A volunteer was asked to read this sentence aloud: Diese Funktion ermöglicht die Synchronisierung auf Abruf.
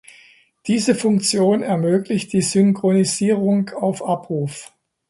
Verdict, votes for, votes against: accepted, 2, 0